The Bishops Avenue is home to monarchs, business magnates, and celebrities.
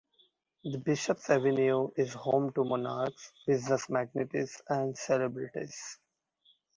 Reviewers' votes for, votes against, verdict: 1, 2, rejected